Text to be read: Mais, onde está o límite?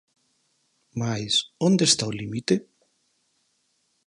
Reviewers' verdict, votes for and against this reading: accepted, 4, 2